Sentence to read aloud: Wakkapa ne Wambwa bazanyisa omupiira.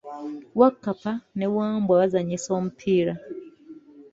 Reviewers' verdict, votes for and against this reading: accepted, 2, 1